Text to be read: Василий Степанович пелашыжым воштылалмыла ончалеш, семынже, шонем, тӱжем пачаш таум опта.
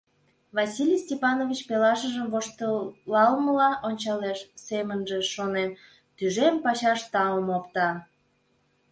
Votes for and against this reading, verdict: 2, 0, accepted